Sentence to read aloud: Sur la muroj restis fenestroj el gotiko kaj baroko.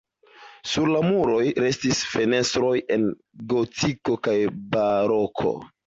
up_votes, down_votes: 2, 0